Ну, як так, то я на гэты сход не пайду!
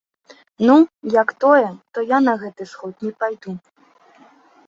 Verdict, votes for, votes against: rejected, 0, 2